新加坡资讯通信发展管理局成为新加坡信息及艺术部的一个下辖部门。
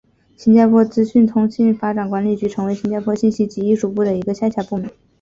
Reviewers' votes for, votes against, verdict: 4, 0, accepted